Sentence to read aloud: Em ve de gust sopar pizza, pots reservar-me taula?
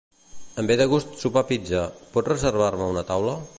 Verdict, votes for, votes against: rejected, 0, 2